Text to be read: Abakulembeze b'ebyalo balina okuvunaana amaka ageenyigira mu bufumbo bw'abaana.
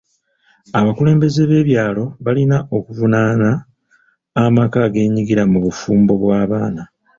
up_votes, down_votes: 2, 0